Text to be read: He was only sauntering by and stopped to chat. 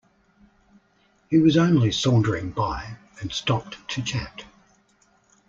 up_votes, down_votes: 2, 0